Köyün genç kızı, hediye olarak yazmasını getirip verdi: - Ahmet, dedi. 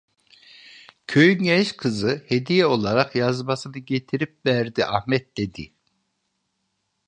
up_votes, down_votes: 2, 0